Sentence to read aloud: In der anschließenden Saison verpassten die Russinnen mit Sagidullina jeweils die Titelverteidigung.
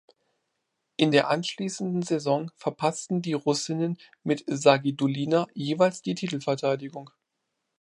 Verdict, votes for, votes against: accepted, 2, 0